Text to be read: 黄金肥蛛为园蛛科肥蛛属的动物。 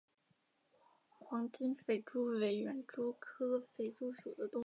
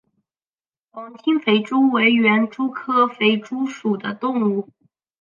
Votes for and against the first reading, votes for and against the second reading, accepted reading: 3, 4, 2, 0, second